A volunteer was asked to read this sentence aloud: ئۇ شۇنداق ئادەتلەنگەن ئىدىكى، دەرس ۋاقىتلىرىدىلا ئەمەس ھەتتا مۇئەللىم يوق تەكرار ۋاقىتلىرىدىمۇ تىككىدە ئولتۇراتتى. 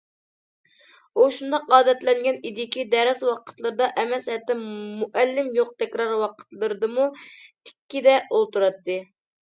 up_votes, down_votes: 1, 2